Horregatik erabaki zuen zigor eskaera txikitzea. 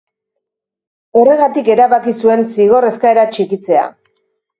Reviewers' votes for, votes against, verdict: 3, 0, accepted